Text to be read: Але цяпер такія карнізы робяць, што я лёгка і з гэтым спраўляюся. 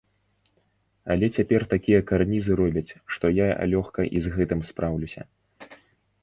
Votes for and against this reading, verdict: 0, 2, rejected